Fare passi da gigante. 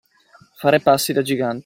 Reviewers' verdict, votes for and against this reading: rejected, 0, 2